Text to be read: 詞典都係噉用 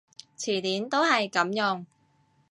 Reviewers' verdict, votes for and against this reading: accepted, 3, 0